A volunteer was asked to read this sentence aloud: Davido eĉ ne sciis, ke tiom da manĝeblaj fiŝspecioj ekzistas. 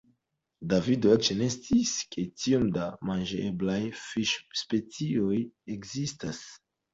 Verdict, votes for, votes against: accepted, 2, 0